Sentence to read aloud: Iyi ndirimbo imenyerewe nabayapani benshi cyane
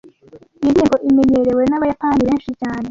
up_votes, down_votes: 1, 2